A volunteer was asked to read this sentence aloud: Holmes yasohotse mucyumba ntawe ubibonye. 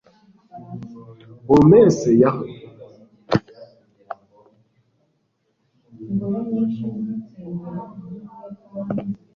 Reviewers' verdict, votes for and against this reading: rejected, 1, 2